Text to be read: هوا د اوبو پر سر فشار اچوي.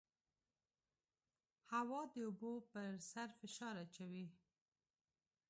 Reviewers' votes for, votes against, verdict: 2, 0, accepted